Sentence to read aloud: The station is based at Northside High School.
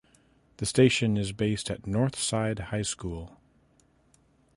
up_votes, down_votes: 2, 0